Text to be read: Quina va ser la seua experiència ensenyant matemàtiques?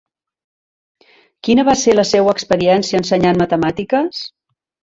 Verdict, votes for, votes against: accepted, 3, 0